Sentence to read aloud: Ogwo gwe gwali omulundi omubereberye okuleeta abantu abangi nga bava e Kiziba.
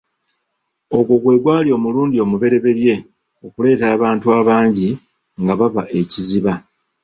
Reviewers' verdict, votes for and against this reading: rejected, 0, 2